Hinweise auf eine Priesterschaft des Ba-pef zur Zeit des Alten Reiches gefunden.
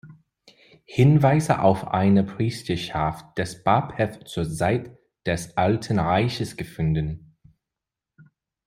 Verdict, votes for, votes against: rejected, 1, 2